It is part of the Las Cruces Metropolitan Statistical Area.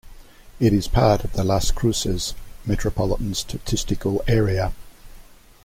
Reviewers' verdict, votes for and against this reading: accepted, 2, 0